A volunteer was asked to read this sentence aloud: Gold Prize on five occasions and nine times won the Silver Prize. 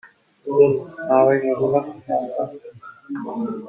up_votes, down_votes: 0, 2